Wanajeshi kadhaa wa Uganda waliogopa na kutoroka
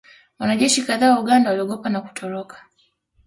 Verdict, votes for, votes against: accepted, 2, 1